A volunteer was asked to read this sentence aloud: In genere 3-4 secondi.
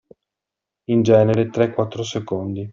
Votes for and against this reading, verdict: 0, 2, rejected